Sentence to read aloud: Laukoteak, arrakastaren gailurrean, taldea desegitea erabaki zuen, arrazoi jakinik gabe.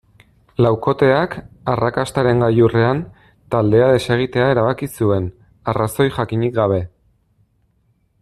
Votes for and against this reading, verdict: 2, 0, accepted